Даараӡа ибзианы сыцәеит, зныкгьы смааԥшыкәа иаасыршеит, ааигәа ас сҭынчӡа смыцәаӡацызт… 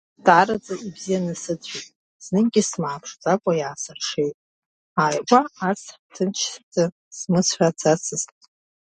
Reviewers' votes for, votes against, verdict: 0, 2, rejected